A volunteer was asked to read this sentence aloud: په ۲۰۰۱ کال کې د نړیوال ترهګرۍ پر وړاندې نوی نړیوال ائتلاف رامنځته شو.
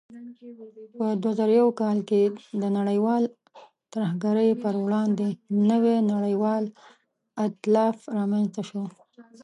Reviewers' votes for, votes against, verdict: 0, 2, rejected